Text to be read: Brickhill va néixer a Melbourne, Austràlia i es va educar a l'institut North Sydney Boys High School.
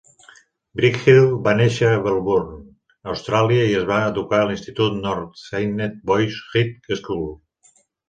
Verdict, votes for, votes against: rejected, 0, 2